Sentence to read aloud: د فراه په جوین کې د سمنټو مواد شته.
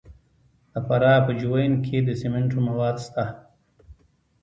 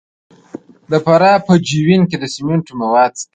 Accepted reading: first